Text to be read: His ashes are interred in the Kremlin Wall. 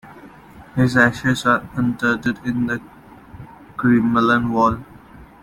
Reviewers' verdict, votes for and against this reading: rejected, 1, 2